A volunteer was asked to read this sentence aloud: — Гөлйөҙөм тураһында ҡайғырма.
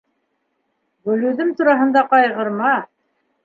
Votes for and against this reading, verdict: 2, 0, accepted